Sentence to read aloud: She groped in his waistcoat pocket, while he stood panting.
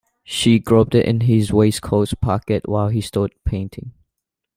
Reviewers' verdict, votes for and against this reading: rejected, 1, 2